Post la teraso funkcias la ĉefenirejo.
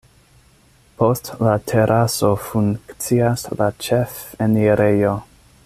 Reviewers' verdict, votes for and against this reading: accepted, 2, 0